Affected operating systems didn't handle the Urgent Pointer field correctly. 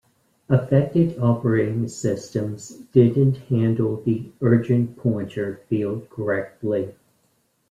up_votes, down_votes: 2, 0